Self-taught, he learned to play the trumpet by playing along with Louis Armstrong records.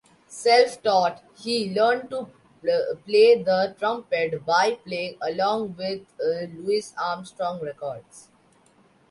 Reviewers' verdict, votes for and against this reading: rejected, 0, 2